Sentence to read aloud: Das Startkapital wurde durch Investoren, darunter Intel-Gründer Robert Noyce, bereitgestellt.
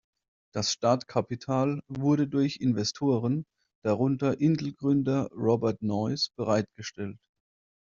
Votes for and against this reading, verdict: 2, 0, accepted